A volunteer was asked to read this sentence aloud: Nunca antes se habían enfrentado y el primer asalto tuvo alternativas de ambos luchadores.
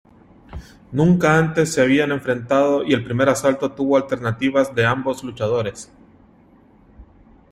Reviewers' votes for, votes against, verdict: 2, 0, accepted